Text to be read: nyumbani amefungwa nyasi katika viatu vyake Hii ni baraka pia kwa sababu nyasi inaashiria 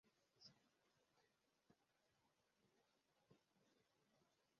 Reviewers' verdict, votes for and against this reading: rejected, 0, 2